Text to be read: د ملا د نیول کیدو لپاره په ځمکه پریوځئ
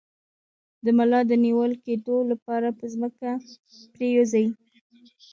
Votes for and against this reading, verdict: 1, 2, rejected